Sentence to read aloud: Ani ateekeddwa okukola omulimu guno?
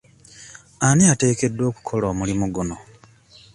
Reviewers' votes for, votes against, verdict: 2, 0, accepted